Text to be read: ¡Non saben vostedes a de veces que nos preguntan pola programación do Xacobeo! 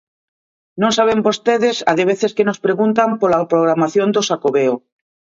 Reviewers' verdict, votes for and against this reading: accepted, 2, 0